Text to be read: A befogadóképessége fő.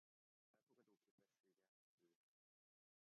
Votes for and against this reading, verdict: 0, 2, rejected